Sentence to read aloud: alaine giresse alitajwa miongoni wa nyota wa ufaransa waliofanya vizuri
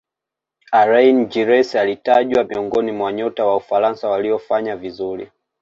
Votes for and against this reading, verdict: 2, 0, accepted